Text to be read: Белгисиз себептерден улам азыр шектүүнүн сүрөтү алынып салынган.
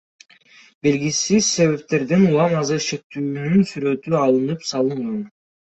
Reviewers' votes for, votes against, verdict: 2, 0, accepted